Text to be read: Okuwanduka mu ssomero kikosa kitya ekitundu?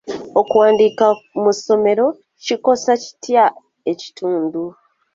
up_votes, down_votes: 2, 0